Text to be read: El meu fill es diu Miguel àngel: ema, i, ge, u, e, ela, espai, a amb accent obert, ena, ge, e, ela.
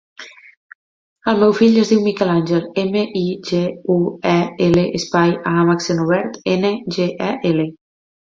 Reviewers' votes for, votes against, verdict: 0, 3, rejected